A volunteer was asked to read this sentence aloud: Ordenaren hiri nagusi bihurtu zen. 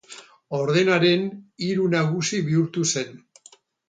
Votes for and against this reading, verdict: 2, 4, rejected